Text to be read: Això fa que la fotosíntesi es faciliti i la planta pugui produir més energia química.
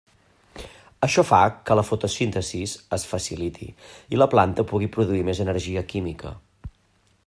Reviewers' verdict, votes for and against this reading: rejected, 0, 2